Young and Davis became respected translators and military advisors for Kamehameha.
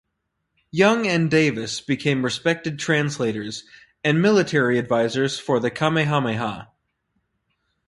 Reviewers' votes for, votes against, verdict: 2, 2, rejected